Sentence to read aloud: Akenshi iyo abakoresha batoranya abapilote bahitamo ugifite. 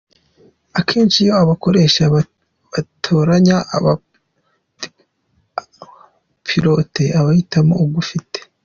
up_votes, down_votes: 0, 2